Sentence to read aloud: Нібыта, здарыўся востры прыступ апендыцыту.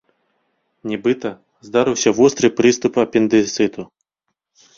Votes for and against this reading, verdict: 1, 2, rejected